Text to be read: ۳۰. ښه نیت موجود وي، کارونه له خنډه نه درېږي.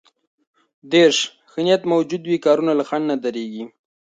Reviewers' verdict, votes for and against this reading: rejected, 0, 2